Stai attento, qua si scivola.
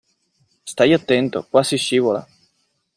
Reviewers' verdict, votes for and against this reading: accepted, 2, 0